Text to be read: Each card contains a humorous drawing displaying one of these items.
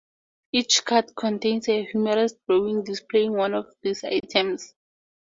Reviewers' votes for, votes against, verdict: 4, 0, accepted